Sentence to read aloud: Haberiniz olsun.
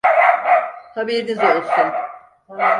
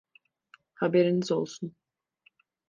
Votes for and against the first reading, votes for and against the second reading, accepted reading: 0, 4, 2, 0, second